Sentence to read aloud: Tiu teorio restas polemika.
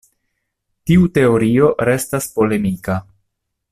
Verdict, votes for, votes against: accepted, 2, 0